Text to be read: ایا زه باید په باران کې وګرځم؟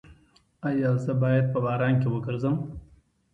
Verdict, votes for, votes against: accepted, 2, 1